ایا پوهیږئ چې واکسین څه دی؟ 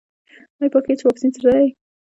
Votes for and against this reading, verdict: 1, 2, rejected